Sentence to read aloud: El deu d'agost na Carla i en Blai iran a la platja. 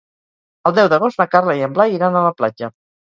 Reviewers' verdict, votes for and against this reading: rejected, 2, 2